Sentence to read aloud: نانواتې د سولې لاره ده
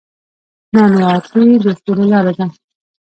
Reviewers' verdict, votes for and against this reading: rejected, 0, 2